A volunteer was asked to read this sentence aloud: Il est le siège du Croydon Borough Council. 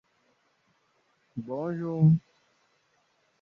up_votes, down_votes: 0, 2